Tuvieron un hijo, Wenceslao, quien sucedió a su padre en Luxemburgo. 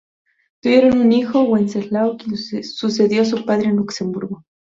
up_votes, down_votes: 0, 2